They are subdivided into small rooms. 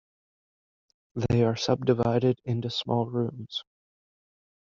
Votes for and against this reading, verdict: 2, 1, accepted